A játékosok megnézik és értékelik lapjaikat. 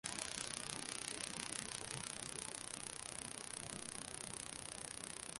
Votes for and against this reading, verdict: 0, 2, rejected